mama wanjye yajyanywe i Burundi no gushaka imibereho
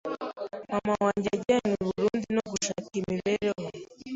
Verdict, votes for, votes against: rejected, 1, 2